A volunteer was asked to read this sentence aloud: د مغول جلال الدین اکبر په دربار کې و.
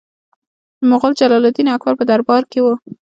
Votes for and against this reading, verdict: 2, 0, accepted